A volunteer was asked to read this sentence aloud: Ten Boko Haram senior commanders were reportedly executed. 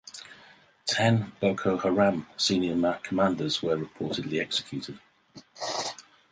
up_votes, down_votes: 2, 4